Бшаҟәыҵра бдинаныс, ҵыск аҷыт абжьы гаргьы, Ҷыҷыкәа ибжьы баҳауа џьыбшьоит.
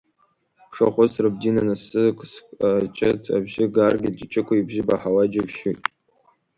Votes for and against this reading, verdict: 2, 0, accepted